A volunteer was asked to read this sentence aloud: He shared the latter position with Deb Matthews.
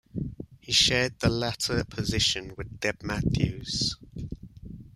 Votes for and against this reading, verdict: 2, 1, accepted